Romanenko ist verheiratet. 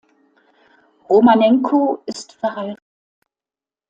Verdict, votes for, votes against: rejected, 1, 2